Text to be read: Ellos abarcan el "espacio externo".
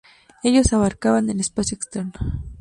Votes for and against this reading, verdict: 2, 0, accepted